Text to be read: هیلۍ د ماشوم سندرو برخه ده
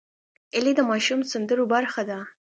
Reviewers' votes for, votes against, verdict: 2, 0, accepted